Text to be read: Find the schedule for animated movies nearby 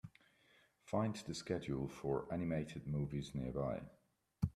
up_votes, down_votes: 2, 1